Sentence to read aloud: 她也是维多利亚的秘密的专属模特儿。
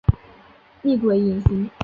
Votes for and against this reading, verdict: 2, 3, rejected